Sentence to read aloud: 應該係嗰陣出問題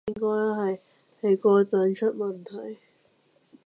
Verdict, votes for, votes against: rejected, 0, 2